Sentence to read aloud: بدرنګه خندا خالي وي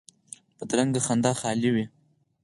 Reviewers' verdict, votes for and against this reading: accepted, 4, 0